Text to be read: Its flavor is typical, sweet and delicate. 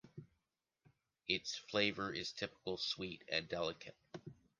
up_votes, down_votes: 2, 0